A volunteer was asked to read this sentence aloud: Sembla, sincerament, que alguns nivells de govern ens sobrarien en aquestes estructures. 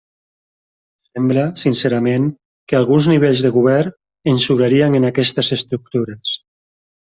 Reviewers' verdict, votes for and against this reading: rejected, 2, 4